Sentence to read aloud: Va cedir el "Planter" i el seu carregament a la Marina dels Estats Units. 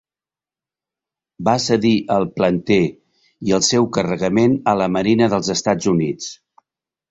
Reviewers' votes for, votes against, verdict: 3, 0, accepted